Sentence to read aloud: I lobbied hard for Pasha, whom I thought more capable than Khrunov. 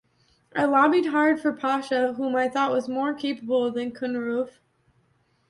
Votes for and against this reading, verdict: 1, 2, rejected